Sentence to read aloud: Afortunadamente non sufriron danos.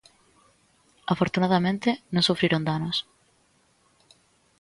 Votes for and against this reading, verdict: 2, 0, accepted